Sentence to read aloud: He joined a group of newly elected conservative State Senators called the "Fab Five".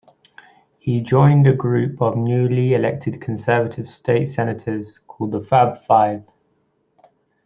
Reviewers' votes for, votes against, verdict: 2, 0, accepted